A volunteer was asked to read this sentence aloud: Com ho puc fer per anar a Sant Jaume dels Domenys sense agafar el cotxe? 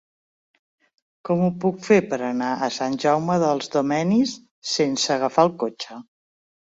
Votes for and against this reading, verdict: 2, 1, accepted